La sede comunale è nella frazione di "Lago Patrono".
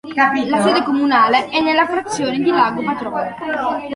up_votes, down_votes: 2, 0